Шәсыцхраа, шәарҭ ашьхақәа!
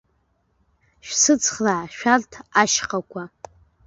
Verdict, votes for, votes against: accepted, 2, 0